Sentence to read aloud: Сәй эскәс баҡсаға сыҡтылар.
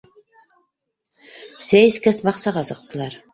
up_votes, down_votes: 2, 1